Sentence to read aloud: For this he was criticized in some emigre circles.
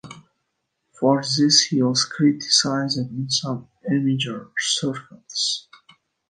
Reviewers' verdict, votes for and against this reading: rejected, 0, 2